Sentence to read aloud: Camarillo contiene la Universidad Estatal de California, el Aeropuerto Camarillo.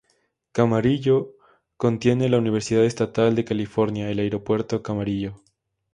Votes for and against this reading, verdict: 2, 0, accepted